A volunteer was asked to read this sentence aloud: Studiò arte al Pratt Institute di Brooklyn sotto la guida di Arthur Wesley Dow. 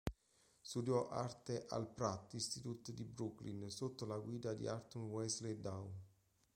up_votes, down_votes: 2, 0